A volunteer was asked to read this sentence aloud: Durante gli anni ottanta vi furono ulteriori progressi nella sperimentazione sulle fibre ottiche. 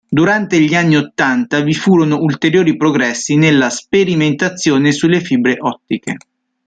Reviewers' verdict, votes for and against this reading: accepted, 2, 0